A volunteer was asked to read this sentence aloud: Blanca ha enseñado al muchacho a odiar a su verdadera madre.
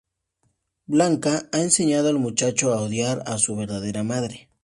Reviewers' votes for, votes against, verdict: 2, 0, accepted